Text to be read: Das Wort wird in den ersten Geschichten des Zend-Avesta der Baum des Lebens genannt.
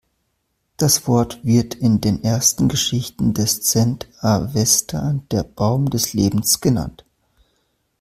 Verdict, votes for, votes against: accepted, 2, 0